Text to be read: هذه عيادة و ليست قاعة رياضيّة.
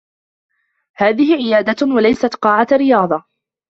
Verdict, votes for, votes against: rejected, 0, 2